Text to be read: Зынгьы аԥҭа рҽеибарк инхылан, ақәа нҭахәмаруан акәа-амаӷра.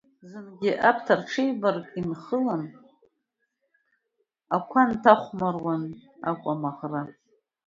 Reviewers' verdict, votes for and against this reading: rejected, 1, 2